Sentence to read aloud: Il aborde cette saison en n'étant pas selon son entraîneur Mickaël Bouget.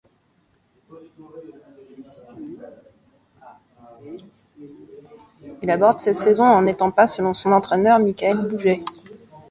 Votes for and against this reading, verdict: 1, 3, rejected